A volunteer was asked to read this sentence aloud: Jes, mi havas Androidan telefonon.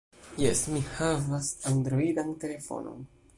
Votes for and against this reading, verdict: 2, 0, accepted